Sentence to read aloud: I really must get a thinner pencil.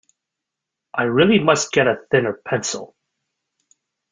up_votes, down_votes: 2, 0